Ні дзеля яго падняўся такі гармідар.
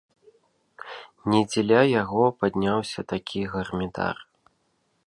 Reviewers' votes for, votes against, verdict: 1, 2, rejected